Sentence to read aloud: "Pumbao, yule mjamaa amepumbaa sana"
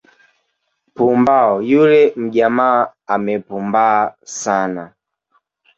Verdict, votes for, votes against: accepted, 2, 1